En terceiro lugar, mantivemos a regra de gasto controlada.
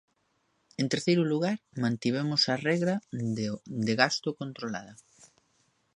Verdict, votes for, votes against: rejected, 0, 2